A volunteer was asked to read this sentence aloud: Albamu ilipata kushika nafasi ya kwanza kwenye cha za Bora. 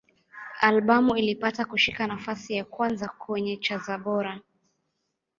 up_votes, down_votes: 2, 1